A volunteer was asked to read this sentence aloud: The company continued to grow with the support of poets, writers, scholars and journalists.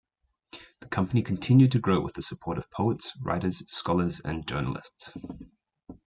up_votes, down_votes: 2, 0